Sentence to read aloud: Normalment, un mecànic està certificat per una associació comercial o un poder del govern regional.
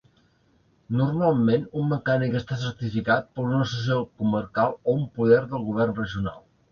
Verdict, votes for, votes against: rejected, 0, 2